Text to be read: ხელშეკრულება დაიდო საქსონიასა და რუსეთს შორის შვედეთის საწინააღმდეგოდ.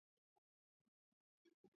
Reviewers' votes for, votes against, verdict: 0, 2, rejected